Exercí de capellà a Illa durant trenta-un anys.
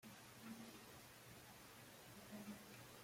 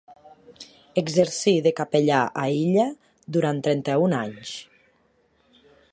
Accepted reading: second